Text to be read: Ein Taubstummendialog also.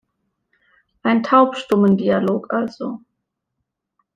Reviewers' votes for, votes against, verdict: 3, 0, accepted